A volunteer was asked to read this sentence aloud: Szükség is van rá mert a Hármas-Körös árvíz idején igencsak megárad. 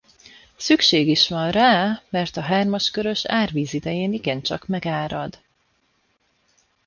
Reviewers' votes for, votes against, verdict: 0, 2, rejected